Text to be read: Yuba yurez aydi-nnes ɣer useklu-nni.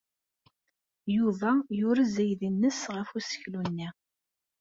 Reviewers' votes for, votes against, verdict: 0, 2, rejected